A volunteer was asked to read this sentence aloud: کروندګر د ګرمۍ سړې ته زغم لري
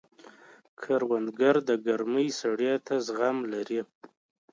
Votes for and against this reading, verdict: 3, 0, accepted